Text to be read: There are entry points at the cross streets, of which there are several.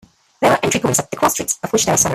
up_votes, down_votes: 1, 2